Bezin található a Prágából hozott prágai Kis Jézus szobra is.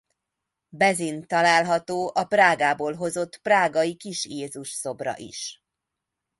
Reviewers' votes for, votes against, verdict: 2, 0, accepted